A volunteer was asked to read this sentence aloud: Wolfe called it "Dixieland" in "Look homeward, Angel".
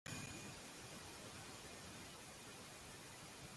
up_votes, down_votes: 0, 2